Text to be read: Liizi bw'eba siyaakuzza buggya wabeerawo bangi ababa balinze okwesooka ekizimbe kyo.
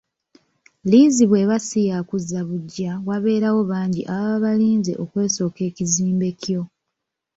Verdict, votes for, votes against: rejected, 1, 2